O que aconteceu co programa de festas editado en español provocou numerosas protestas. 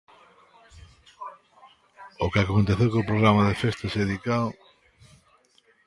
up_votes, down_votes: 0, 2